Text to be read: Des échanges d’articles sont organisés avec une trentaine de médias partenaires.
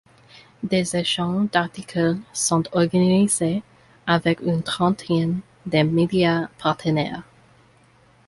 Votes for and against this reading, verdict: 2, 1, accepted